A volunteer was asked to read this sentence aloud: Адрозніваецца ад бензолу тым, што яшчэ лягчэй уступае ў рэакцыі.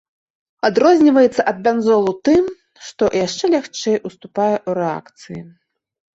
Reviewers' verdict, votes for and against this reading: accepted, 2, 0